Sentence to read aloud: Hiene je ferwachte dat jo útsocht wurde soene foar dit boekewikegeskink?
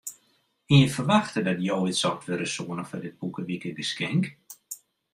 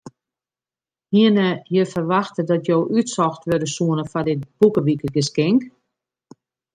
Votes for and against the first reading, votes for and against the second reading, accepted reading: 1, 2, 2, 0, second